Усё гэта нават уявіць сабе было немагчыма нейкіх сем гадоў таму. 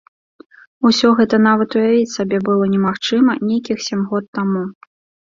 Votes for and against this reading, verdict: 0, 2, rejected